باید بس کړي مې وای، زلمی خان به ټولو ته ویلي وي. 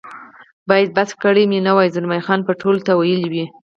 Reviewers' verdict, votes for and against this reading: accepted, 4, 0